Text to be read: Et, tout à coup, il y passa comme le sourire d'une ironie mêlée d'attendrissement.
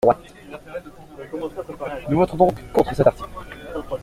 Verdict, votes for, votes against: rejected, 0, 2